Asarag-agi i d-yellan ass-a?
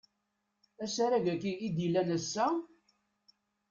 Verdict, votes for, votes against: accepted, 2, 0